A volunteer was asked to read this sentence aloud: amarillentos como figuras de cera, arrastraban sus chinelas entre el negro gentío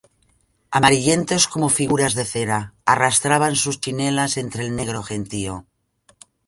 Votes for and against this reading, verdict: 2, 0, accepted